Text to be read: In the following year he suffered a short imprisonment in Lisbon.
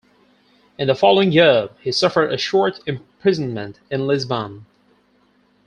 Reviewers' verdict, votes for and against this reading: accepted, 4, 0